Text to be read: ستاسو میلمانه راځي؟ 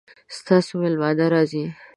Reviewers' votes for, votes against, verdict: 2, 0, accepted